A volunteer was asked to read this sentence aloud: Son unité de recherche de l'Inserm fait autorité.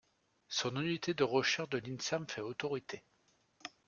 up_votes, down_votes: 0, 2